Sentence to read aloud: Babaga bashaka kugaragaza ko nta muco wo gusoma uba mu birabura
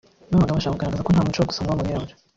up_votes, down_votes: 0, 2